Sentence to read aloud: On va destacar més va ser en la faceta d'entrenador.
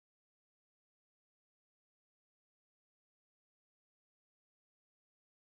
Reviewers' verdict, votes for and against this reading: rejected, 0, 3